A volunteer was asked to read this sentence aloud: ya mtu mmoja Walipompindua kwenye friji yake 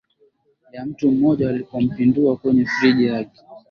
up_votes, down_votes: 2, 0